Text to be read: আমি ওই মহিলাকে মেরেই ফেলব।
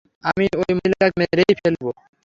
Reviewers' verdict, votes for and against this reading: rejected, 0, 3